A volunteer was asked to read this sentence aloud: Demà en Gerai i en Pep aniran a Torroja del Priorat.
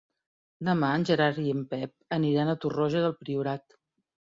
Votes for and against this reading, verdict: 1, 2, rejected